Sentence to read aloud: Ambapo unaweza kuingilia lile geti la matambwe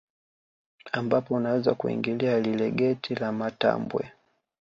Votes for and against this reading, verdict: 2, 0, accepted